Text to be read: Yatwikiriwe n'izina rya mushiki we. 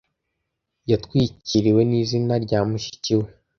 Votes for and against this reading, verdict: 2, 0, accepted